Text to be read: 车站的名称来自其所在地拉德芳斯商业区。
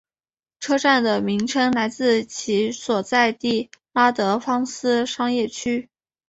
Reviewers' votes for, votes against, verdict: 6, 2, accepted